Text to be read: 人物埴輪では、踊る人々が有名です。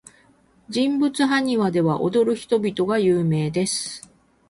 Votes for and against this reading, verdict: 4, 0, accepted